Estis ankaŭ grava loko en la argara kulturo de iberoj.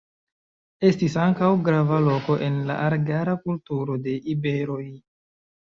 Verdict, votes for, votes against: accepted, 2, 0